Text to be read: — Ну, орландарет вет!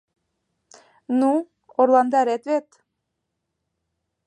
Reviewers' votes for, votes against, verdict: 2, 0, accepted